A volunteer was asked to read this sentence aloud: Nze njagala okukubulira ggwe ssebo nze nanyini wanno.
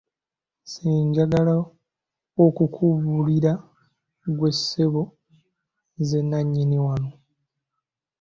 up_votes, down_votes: 2, 0